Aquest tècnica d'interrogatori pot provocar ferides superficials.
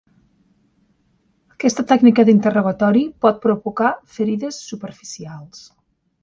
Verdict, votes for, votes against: accepted, 3, 0